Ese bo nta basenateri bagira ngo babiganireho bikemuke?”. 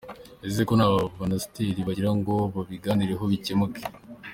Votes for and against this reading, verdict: 2, 0, accepted